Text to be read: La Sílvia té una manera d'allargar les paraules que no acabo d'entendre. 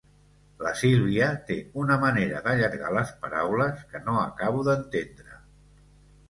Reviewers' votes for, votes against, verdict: 2, 0, accepted